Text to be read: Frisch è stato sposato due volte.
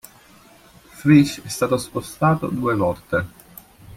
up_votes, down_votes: 1, 2